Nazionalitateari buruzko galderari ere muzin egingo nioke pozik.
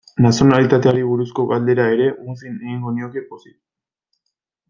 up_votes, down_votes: 1, 2